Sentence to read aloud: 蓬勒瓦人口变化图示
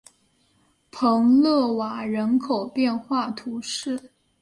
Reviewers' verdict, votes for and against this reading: accepted, 6, 1